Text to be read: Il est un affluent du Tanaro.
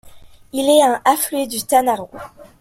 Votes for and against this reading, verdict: 0, 2, rejected